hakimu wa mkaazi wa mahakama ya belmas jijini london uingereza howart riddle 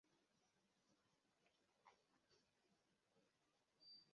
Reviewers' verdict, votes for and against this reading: rejected, 0, 2